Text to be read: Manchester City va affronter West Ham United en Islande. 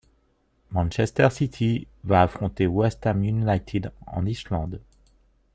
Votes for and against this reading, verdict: 1, 2, rejected